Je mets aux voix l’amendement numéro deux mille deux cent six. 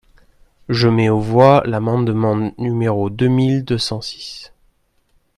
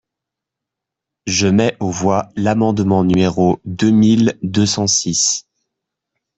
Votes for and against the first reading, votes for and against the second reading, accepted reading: 1, 2, 2, 0, second